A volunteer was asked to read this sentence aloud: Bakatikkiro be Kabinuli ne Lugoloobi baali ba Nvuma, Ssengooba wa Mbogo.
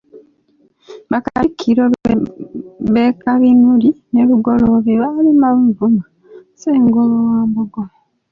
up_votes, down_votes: 0, 2